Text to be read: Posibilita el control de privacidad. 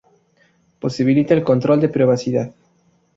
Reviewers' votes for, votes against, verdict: 2, 0, accepted